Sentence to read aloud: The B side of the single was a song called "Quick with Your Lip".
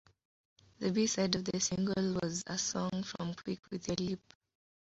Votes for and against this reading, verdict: 1, 2, rejected